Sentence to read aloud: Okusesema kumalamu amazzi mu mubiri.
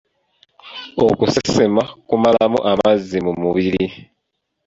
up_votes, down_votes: 2, 1